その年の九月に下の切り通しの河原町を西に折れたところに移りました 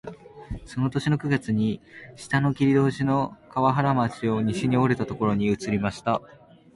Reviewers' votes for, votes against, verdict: 2, 1, accepted